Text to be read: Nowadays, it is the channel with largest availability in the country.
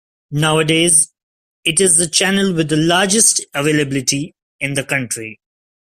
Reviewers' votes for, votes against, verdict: 1, 2, rejected